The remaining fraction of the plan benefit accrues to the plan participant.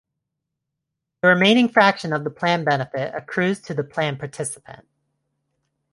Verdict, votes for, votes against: accepted, 2, 0